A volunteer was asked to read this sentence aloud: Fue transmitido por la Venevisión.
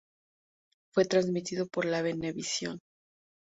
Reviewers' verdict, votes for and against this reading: rejected, 0, 2